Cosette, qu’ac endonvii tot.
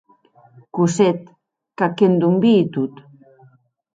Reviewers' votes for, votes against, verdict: 2, 0, accepted